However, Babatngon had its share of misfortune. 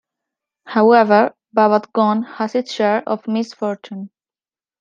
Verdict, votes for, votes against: rejected, 1, 2